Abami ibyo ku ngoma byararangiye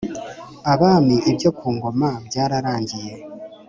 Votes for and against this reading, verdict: 3, 0, accepted